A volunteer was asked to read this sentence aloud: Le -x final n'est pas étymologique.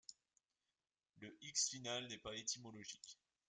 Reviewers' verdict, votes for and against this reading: accepted, 2, 1